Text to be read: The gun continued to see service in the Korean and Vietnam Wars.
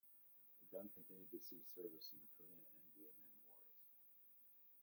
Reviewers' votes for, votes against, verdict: 0, 2, rejected